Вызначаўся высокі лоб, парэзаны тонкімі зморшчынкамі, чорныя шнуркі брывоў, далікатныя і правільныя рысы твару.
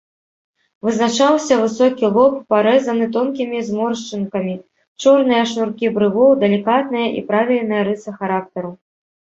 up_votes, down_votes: 1, 2